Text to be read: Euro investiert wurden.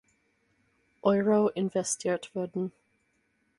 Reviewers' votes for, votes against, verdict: 4, 0, accepted